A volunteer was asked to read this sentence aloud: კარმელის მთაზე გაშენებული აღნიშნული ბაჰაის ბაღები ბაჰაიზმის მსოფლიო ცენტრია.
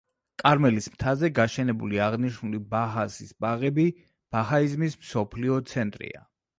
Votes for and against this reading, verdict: 0, 2, rejected